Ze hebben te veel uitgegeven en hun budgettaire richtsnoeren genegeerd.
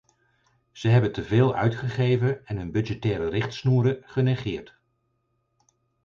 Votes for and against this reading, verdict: 4, 0, accepted